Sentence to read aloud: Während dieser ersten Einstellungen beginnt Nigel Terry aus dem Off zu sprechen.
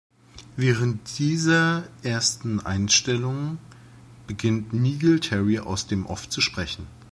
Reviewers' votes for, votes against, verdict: 1, 3, rejected